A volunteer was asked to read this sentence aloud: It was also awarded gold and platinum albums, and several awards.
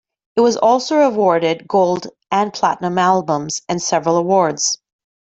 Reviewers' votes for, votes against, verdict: 2, 0, accepted